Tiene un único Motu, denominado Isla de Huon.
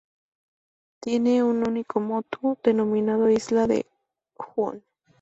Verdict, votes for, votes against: rejected, 0, 2